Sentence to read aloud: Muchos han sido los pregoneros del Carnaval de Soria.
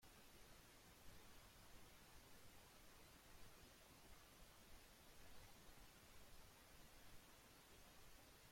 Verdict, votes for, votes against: rejected, 0, 2